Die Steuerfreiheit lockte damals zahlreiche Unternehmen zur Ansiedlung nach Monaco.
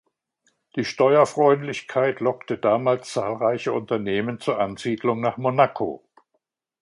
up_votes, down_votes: 0, 2